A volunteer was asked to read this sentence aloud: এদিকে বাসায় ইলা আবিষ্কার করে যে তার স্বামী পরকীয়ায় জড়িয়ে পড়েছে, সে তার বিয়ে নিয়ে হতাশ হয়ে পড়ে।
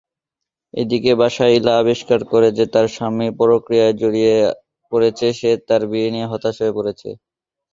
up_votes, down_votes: 4, 10